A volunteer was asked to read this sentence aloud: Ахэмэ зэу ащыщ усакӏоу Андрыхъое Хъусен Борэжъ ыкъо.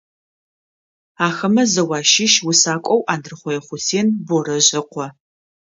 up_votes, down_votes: 2, 0